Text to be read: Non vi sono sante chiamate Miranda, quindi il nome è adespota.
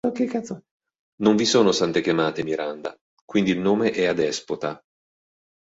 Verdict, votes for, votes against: rejected, 1, 3